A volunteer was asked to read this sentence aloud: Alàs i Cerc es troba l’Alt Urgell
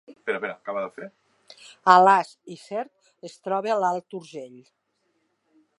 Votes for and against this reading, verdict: 1, 2, rejected